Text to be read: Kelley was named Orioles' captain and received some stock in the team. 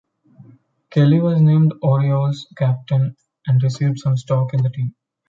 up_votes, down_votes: 2, 1